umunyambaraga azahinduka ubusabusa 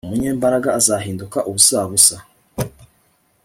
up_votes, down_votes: 2, 0